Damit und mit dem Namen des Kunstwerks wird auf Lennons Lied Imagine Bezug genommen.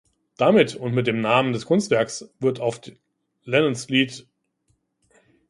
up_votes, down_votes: 0, 2